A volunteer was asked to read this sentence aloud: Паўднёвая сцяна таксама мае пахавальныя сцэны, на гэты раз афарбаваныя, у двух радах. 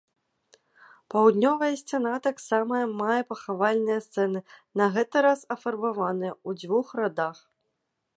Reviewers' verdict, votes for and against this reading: rejected, 0, 2